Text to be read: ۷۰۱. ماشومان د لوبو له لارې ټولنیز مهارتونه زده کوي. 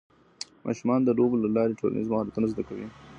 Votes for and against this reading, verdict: 0, 2, rejected